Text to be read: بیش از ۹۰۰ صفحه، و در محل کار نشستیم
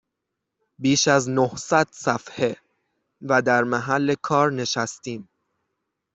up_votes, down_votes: 0, 2